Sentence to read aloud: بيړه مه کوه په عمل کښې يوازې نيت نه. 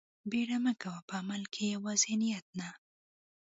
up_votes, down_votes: 2, 0